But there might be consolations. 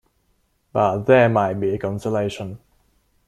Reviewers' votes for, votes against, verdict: 1, 2, rejected